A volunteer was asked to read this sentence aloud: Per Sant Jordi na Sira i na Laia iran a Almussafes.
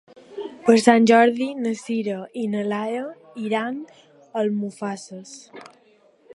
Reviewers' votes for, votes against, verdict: 0, 2, rejected